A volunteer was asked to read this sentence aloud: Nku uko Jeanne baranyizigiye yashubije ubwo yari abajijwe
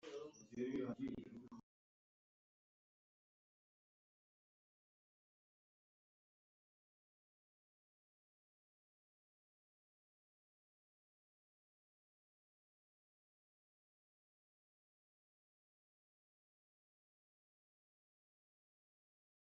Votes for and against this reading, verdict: 0, 2, rejected